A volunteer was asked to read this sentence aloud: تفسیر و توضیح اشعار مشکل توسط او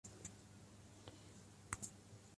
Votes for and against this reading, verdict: 0, 2, rejected